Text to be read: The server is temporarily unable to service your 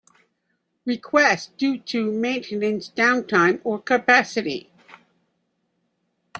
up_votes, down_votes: 0, 5